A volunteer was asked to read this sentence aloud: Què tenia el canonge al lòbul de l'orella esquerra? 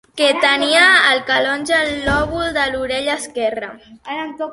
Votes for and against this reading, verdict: 1, 3, rejected